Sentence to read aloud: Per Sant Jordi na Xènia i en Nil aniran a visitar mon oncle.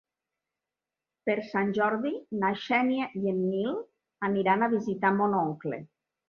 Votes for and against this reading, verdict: 4, 0, accepted